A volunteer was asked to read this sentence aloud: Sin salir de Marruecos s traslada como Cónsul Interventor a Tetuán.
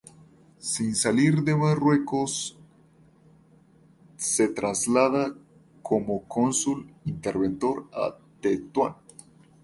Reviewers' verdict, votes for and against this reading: rejected, 0, 2